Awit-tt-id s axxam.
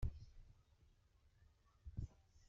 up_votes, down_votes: 0, 2